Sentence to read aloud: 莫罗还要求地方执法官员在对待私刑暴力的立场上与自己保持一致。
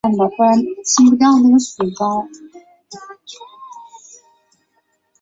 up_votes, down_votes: 0, 4